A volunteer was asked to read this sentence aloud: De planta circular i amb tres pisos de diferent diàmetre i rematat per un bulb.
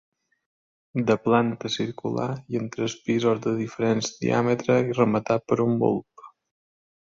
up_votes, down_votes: 2, 0